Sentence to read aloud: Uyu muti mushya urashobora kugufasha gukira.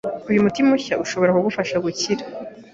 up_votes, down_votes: 2, 0